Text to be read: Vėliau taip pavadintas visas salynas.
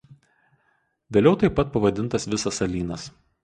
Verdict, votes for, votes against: rejected, 0, 4